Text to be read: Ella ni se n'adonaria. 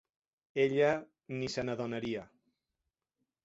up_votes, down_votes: 3, 0